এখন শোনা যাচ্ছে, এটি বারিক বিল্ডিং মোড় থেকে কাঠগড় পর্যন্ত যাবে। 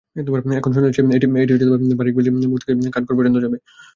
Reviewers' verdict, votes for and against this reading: rejected, 0, 2